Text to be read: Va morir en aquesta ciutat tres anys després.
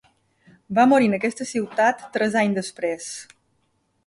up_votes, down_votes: 2, 0